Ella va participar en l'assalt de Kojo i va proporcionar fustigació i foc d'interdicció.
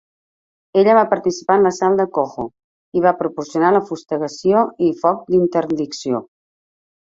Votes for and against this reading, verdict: 1, 2, rejected